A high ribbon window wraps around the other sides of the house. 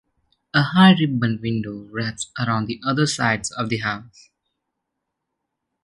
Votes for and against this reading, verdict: 2, 0, accepted